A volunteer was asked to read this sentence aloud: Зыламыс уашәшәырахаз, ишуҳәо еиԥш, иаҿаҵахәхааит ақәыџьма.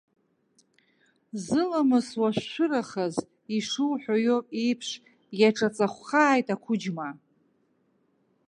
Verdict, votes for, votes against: rejected, 1, 2